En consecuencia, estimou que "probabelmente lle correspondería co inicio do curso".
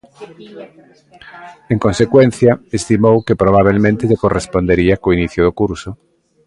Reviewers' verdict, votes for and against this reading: accepted, 2, 0